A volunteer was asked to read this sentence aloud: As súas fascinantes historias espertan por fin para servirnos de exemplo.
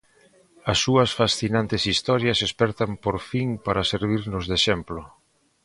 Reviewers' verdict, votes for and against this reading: accepted, 3, 0